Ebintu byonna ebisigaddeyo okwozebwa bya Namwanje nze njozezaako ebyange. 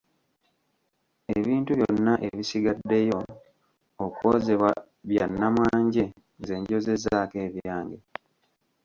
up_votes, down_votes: 1, 2